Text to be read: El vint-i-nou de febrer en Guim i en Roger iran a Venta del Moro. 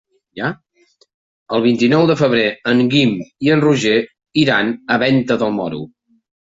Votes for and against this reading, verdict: 1, 2, rejected